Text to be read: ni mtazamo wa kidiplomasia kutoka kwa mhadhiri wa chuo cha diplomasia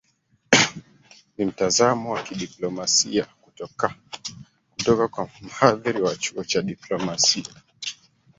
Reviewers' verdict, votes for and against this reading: rejected, 0, 2